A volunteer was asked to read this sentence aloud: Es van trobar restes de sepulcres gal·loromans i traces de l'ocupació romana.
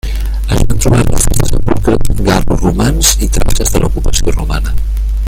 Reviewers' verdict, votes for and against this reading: rejected, 0, 2